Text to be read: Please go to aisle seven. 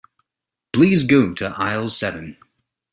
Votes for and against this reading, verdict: 2, 0, accepted